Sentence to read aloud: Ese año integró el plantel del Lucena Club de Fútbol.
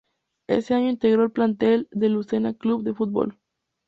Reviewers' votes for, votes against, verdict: 2, 0, accepted